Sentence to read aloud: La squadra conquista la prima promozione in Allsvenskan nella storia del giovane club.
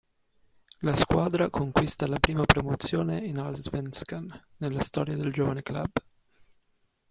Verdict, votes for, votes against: rejected, 1, 2